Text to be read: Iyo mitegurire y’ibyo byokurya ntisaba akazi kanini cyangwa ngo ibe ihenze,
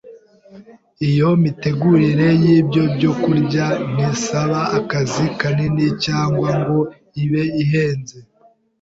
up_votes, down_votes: 2, 0